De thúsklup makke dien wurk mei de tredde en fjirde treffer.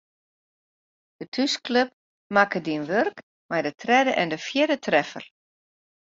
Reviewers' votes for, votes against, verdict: 1, 2, rejected